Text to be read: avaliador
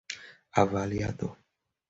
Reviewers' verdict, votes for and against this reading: accepted, 2, 0